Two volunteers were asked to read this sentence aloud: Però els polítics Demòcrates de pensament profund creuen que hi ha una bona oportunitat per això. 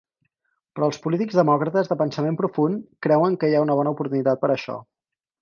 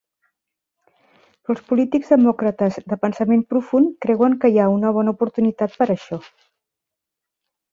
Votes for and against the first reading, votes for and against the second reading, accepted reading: 4, 0, 0, 2, first